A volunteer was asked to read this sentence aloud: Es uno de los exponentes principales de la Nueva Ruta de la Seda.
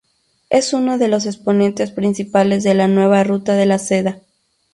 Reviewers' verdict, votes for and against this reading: accepted, 2, 0